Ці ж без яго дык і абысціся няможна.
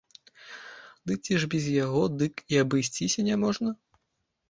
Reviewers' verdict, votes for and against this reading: rejected, 1, 2